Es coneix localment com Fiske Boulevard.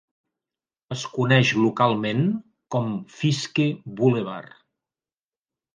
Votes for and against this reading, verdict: 2, 0, accepted